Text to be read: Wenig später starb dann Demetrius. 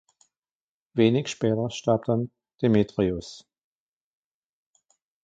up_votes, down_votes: 2, 1